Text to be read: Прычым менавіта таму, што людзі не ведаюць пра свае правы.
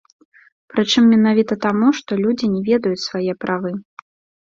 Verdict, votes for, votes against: rejected, 0, 2